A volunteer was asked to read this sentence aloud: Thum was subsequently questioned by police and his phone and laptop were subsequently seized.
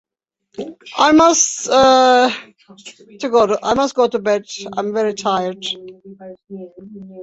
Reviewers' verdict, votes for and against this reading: rejected, 0, 2